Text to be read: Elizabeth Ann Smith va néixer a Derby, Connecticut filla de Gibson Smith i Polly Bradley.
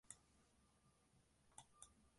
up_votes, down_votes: 0, 3